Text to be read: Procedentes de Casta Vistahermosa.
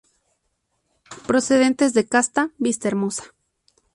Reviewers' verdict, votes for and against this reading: accepted, 2, 0